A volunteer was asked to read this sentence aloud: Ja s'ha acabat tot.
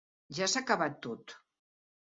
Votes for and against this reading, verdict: 3, 0, accepted